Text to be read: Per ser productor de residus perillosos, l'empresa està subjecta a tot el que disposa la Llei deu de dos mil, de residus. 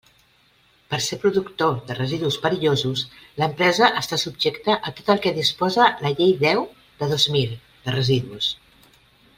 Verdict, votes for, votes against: accepted, 3, 0